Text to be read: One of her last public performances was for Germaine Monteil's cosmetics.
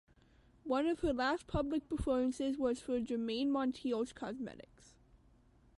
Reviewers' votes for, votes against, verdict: 2, 0, accepted